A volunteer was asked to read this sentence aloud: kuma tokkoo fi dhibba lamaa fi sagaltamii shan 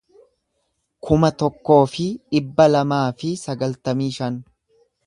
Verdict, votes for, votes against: accepted, 2, 0